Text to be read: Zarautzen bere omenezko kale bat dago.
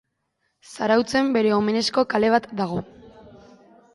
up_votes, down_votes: 3, 0